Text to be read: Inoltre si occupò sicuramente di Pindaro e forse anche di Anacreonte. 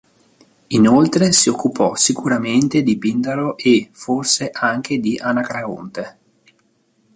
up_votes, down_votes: 0, 2